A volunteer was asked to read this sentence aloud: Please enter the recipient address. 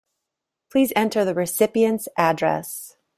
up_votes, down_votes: 2, 1